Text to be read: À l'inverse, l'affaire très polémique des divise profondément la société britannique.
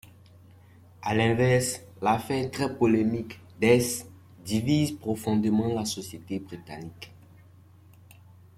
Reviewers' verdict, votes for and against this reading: rejected, 0, 2